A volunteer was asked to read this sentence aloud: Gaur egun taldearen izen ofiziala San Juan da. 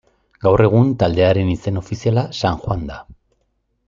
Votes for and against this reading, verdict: 2, 0, accepted